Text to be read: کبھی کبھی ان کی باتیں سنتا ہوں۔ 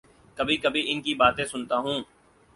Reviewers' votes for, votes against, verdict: 4, 0, accepted